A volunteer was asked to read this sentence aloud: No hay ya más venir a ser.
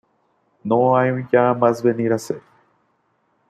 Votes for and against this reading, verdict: 0, 2, rejected